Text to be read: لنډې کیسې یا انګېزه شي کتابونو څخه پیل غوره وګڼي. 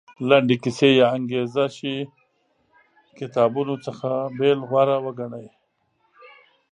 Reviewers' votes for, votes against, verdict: 0, 2, rejected